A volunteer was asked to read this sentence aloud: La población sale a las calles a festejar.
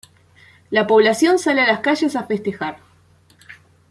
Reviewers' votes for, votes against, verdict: 2, 0, accepted